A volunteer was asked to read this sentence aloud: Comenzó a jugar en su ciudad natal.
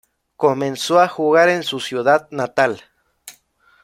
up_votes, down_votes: 2, 0